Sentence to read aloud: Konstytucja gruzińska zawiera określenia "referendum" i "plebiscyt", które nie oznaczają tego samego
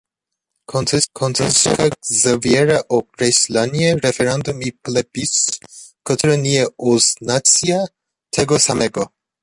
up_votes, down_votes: 0, 2